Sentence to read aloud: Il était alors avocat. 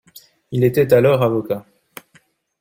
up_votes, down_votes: 2, 0